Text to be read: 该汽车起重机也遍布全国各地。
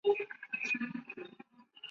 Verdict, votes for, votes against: rejected, 0, 4